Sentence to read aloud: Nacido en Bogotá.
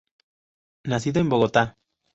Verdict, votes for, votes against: accepted, 2, 0